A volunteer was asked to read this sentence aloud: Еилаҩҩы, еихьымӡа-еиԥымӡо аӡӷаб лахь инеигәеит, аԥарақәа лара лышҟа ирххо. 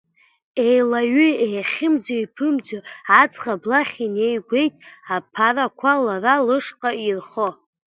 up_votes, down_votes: 0, 2